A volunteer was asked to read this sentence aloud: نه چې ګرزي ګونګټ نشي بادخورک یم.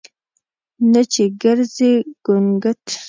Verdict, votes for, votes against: rejected, 1, 2